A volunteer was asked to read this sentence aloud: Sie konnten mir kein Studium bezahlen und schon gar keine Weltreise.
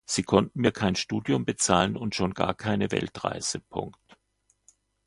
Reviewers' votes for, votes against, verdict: 1, 2, rejected